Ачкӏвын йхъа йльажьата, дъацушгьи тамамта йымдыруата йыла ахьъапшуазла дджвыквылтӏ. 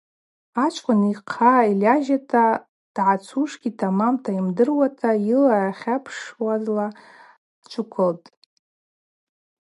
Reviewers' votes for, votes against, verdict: 0, 2, rejected